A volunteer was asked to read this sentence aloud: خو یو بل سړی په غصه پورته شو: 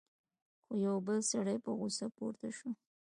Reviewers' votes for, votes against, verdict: 2, 1, accepted